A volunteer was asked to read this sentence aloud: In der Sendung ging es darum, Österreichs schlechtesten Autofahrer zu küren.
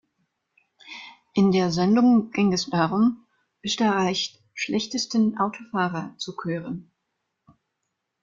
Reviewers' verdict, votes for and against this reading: rejected, 0, 2